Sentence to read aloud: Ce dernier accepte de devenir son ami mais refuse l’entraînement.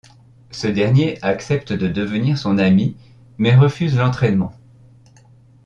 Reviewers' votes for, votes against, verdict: 2, 0, accepted